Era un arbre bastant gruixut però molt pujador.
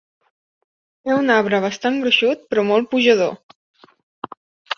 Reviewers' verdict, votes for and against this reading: rejected, 1, 2